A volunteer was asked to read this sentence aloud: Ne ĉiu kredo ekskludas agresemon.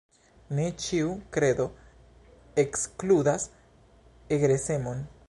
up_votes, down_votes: 1, 2